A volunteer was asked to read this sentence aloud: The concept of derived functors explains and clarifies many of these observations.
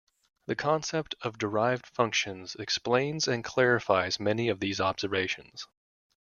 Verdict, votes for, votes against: rejected, 1, 2